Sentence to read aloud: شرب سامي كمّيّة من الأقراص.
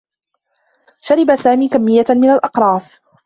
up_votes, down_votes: 2, 1